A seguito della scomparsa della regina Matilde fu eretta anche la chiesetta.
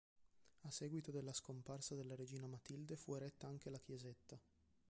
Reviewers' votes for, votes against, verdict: 0, 2, rejected